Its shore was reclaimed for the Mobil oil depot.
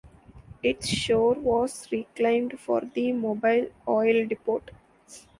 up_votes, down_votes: 2, 0